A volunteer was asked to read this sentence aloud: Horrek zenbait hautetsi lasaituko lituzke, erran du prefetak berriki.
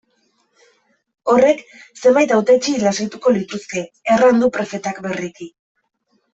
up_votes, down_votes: 2, 0